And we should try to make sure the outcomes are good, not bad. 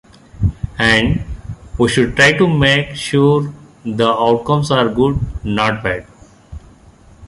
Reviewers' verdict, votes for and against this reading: accepted, 2, 1